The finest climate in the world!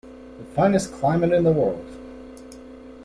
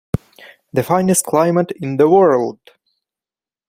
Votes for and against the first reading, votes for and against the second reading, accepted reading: 1, 2, 2, 0, second